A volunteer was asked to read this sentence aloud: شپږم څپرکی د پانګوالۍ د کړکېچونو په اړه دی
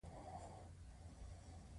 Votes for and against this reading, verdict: 2, 0, accepted